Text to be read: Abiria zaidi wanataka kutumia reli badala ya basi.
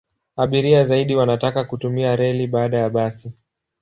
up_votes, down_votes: 1, 8